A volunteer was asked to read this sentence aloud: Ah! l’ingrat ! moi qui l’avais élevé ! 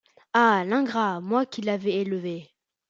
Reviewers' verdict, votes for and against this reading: accepted, 2, 0